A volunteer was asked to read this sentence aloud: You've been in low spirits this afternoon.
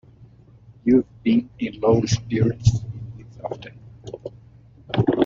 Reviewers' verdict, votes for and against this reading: rejected, 0, 2